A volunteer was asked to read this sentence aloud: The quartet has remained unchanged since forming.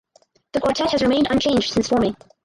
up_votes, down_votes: 4, 2